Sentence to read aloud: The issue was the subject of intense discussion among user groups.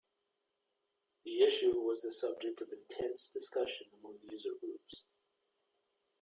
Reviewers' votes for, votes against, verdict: 2, 1, accepted